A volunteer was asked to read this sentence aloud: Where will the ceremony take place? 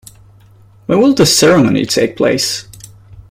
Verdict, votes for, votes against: accepted, 2, 0